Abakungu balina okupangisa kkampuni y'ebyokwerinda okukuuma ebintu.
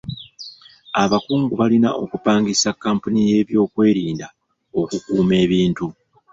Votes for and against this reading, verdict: 2, 0, accepted